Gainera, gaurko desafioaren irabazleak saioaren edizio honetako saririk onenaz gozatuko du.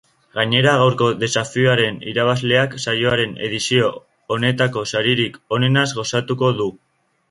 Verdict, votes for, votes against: accepted, 2, 0